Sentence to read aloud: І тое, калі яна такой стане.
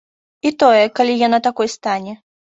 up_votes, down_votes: 3, 1